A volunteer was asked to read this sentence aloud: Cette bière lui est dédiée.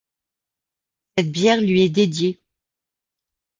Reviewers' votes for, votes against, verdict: 1, 2, rejected